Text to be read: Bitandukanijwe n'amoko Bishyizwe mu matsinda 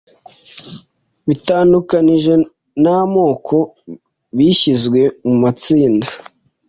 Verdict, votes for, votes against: accepted, 2, 0